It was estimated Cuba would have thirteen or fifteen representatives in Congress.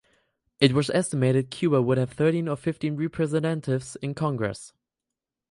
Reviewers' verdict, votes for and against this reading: rejected, 2, 2